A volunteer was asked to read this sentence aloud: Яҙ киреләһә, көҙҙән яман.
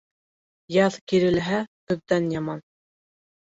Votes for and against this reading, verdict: 1, 2, rejected